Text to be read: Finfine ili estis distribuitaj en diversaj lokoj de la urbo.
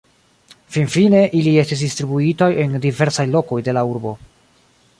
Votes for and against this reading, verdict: 0, 2, rejected